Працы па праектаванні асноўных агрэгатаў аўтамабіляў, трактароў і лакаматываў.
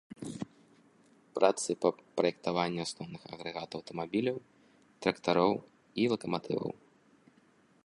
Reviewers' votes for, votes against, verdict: 1, 2, rejected